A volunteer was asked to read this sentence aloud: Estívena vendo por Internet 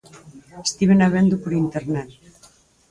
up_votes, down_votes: 2, 4